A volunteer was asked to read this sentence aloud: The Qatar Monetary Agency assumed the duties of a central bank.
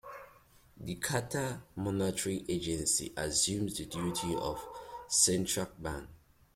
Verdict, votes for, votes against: rejected, 1, 2